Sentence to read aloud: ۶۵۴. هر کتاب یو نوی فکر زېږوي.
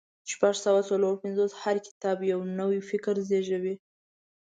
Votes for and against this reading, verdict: 0, 2, rejected